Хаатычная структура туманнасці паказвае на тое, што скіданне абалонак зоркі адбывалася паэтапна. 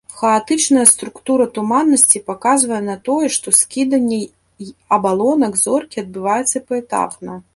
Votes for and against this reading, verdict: 1, 3, rejected